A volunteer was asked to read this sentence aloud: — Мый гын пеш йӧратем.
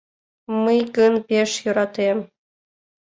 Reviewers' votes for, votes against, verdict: 2, 0, accepted